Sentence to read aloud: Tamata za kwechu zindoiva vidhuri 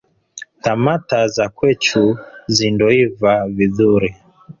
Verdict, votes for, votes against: accepted, 2, 0